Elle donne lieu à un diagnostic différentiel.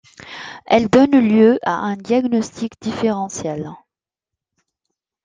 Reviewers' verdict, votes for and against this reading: accepted, 2, 0